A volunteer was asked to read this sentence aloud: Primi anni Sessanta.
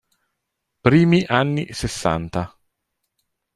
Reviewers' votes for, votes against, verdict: 2, 0, accepted